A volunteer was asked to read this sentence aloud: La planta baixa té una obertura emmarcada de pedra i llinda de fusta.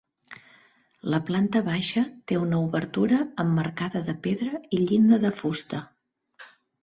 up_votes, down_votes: 3, 0